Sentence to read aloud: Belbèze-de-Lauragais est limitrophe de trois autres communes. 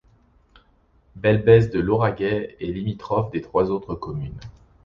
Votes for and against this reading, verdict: 2, 1, accepted